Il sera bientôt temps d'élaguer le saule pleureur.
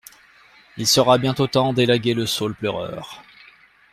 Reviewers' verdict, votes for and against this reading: accepted, 2, 0